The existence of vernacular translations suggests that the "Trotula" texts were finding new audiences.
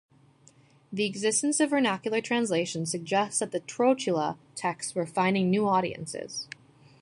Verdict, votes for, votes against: accepted, 2, 0